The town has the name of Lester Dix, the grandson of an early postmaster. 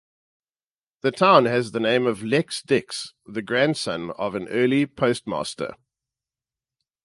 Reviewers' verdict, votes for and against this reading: rejected, 0, 2